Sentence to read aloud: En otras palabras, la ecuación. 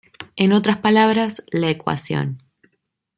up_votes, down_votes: 2, 0